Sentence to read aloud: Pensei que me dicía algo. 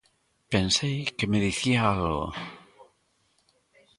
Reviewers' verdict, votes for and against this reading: rejected, 1, 2